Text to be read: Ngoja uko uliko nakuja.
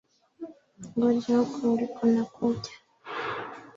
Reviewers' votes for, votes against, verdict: 2, 0, accepted